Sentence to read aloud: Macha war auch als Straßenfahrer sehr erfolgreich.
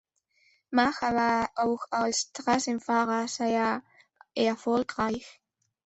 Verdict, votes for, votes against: accepted, 2, 1